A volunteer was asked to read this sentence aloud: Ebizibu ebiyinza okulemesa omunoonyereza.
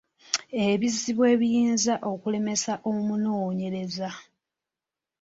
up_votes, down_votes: 2, 0